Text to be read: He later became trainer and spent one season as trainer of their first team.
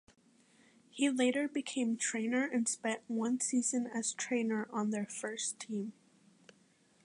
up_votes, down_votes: 0, 2